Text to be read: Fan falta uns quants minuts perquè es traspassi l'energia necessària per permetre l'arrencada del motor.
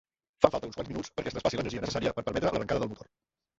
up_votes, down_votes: 0, 2